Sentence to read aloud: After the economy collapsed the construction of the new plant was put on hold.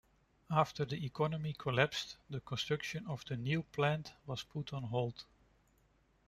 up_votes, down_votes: 2, 0